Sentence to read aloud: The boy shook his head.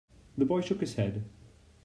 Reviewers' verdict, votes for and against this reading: accepted, 2, 0